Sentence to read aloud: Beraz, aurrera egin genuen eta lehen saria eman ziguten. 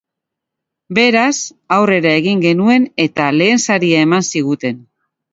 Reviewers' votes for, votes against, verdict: 2, 0, accepted